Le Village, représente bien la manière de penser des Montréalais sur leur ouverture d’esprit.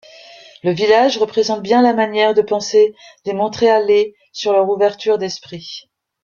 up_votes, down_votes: 1, 2